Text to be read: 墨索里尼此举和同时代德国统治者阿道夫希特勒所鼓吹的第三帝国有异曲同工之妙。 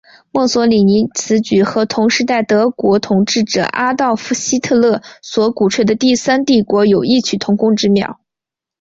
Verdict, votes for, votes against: accepted, 2, 0